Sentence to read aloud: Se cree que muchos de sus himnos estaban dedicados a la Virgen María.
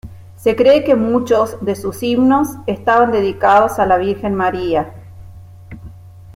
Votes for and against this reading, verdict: 2, 0, accepted